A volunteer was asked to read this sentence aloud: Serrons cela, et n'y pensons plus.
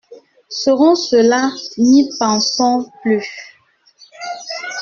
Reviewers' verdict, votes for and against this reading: rejected, 1, 2